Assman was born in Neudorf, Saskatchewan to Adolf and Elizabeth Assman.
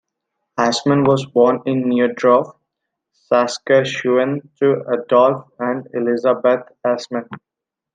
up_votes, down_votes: 2, 0